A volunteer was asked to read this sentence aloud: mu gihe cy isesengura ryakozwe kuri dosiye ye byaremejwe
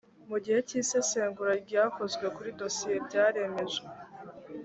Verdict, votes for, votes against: rejected, 1, 2